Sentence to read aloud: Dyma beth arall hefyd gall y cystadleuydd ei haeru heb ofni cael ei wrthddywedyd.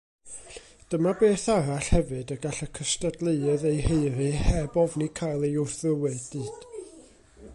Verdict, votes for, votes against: rejected, 1, 2